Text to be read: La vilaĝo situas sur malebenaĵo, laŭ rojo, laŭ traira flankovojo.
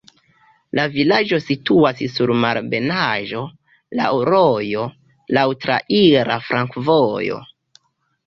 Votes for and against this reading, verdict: 2, 1, accepted